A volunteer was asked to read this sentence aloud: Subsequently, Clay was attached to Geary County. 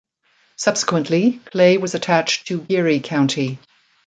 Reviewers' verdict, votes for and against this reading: accepted, 2, 0